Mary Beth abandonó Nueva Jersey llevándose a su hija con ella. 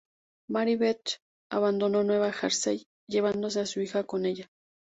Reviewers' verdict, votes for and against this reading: accepted, 2, 0